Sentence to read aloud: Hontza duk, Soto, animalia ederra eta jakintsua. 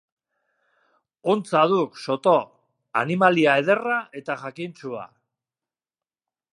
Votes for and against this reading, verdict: 2, 0, accepted